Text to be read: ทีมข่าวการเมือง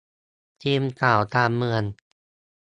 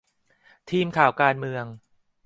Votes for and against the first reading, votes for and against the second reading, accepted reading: 1, 2, 2, 0, second